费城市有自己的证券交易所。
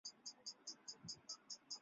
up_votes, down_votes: 1, 3